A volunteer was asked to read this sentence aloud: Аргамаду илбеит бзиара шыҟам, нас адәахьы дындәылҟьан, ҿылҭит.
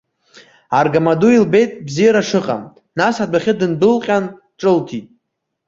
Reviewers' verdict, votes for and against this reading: accepted, 2, 1